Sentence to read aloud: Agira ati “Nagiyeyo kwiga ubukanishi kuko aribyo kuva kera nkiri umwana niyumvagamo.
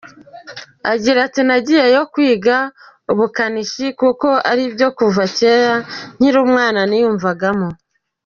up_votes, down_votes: 2, 0